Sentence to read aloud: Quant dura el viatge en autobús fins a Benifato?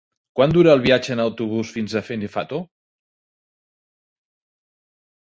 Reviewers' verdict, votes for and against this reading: rejected, 1, 2